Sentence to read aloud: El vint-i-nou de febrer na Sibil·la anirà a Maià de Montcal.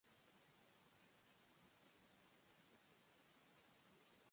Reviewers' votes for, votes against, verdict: 0, 2, rejected